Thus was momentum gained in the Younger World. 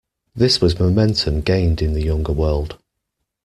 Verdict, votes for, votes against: rejected, 0, 2